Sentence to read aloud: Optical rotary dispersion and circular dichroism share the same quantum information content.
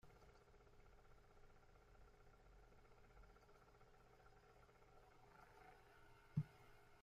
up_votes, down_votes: 0, 2